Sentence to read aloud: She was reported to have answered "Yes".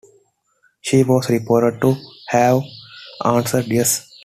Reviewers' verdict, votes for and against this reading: accepted, 2, 0